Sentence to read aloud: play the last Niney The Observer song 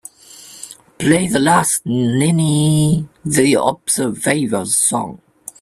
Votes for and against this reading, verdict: 0, 2, rejected